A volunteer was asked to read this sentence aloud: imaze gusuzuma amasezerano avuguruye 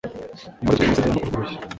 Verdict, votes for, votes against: rejected, 1, 2